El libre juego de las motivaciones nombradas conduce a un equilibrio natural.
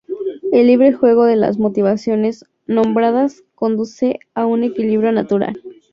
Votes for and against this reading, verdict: 2, 0, accepted